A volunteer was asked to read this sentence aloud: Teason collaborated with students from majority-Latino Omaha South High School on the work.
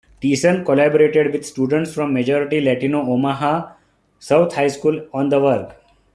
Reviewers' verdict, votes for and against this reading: accepted, 2, 1